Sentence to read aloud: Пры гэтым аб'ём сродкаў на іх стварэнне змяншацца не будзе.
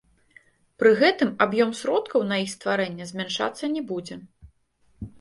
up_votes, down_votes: 2, 0